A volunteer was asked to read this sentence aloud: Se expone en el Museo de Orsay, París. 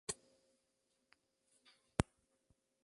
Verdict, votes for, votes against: rejected, 0, 2